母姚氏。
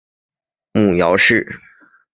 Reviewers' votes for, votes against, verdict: 7, 0, accepted